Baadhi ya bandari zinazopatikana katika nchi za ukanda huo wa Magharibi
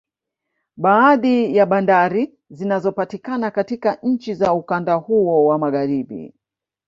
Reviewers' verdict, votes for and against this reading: accepted, 2, 0